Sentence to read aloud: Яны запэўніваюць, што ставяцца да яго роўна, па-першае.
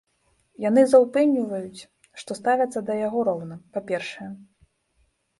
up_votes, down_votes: 1, 2